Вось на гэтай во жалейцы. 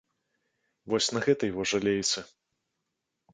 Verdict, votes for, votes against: accepted, 2, 0